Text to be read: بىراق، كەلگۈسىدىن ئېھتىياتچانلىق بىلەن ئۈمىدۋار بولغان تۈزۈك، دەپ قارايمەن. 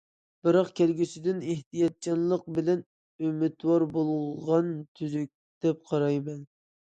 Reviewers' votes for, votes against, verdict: 2, 0, accepted